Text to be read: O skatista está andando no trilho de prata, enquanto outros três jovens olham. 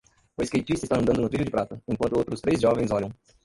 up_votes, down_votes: 1, 2